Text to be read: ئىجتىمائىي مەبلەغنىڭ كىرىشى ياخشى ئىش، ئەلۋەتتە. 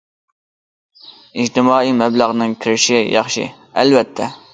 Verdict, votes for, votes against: rejected, 0, 2